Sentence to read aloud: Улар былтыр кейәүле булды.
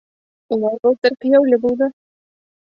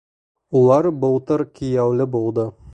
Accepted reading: second